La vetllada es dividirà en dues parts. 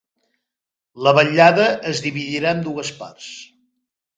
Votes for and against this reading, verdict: 2, 0, accepted